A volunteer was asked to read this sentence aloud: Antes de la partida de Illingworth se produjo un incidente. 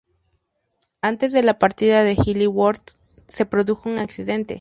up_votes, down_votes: 0, 2